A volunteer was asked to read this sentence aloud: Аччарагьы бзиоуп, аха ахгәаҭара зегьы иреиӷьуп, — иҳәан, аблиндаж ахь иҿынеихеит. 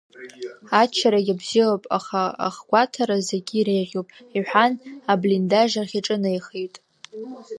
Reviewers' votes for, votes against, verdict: 3, 0, accepted